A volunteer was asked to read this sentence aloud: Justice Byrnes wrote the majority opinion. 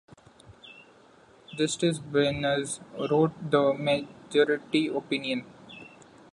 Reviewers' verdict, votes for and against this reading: accepted, 2, 0